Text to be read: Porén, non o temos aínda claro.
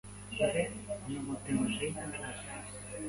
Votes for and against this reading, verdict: 0, 2, rejected